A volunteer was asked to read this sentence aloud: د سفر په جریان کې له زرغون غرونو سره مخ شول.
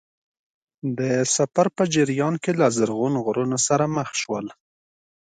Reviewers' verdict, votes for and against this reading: rejected, 1, 2